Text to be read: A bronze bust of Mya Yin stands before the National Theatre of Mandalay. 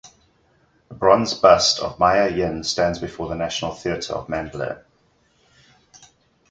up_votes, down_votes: 4, 0